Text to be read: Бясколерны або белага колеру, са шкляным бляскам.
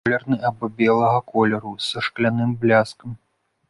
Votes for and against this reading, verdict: 0, 3, rejected